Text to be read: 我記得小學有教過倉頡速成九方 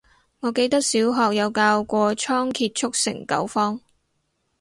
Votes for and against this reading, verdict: 4, 0, accepted